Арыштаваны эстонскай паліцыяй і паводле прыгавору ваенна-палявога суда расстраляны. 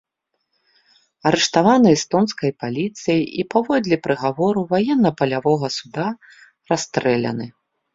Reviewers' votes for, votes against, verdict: 0, 2, rejected